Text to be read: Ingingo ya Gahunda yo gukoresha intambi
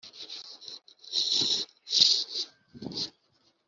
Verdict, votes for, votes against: rejected, 0, 2